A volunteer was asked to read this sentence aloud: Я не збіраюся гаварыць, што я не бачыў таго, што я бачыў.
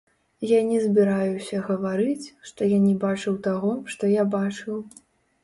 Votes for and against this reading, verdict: 1, 2, rejected